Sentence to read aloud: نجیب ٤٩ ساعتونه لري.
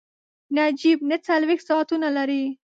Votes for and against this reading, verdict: 0, 2, rejected